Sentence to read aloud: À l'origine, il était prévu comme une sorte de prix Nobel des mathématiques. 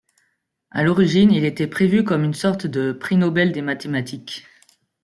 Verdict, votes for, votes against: accepted, 2, 0